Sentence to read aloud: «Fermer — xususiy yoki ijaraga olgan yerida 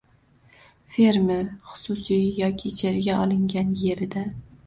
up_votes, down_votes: 1, 2